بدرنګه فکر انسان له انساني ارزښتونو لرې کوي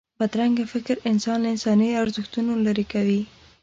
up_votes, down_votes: 2, 0